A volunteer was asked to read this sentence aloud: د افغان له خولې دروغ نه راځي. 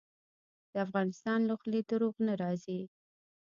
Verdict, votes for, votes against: accepted, 3, 1